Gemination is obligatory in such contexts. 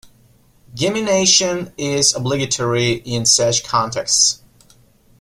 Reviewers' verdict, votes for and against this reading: accepted, 2, 0